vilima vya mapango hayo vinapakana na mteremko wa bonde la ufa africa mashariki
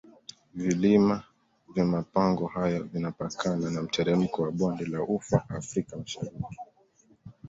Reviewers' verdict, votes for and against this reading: accepted, 2, 0